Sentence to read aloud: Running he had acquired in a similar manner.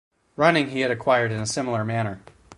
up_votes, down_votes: 2, 4